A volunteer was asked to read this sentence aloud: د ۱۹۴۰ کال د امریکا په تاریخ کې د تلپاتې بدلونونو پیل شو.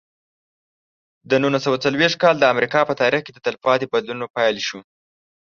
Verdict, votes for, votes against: rejected, 0, 2